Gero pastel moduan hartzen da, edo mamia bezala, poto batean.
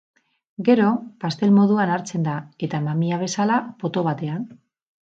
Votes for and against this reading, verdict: 0, 4, rejected